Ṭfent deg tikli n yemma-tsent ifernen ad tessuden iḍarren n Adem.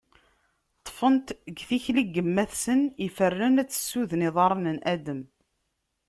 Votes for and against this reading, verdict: 2, 0, accepted